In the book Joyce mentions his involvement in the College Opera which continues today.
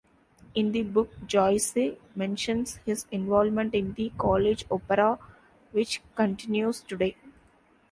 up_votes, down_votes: 0, 2